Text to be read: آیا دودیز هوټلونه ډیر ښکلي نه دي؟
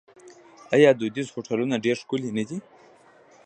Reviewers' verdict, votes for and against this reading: rejected, 0, 2